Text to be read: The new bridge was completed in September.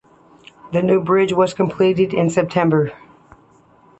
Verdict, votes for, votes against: accepted, 2, 0